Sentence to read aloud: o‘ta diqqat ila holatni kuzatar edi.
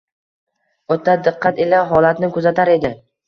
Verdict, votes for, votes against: accepted, 2, 0